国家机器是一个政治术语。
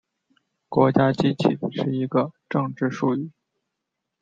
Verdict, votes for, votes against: accepted, 2, 0